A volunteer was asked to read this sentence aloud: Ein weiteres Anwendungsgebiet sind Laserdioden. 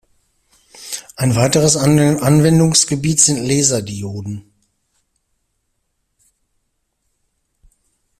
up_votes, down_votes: 0, 2